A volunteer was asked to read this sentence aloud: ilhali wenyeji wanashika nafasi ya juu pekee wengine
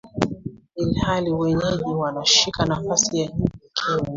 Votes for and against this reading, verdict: 0, 2, rejected